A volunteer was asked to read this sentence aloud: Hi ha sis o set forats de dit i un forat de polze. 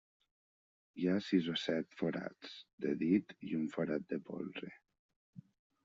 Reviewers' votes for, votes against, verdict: 2, 1, accepted